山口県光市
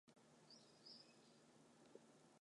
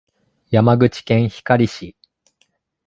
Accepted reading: second